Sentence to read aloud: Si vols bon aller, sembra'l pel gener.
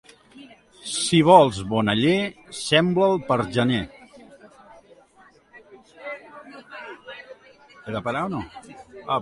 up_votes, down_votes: 1, 2